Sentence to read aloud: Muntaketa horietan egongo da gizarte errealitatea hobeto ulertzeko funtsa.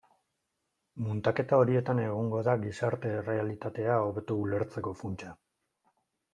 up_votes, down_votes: 2, 0